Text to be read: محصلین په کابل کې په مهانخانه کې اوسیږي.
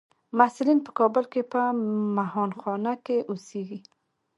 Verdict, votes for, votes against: accepted, 2, 0